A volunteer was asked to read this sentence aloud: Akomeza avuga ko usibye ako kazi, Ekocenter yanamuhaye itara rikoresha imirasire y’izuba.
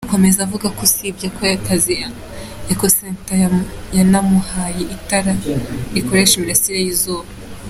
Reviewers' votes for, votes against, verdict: 2, 1, accepted